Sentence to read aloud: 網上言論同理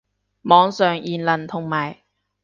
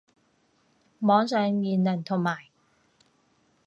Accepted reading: first